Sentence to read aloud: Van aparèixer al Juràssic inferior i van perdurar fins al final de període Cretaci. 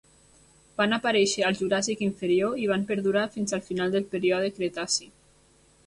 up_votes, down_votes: 1, 2